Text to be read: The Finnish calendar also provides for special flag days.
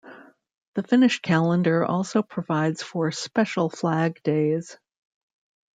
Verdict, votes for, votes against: rejected, 1, 2